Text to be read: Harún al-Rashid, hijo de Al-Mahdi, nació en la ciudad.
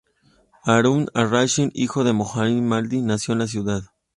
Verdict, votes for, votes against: rejected, 1, 2